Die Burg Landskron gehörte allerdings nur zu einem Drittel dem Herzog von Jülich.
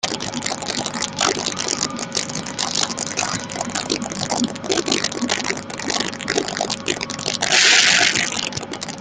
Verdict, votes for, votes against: rejected, 0, 2